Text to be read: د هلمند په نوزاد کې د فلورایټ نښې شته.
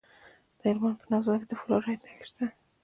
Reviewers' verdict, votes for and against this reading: rejected, 1, 2